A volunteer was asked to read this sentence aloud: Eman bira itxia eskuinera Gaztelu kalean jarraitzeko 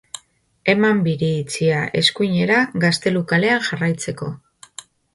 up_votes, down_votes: 0, 2